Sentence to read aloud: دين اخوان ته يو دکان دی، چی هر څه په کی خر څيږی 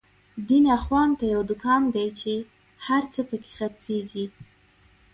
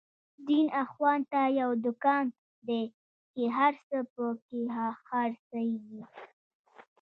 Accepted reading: first